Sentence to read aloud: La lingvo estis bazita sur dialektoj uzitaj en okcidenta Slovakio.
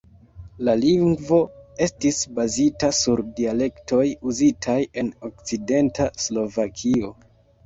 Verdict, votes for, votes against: rejected, 1, 2